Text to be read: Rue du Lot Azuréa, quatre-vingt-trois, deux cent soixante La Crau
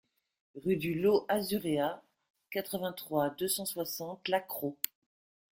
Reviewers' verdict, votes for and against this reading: accepted, 2, 0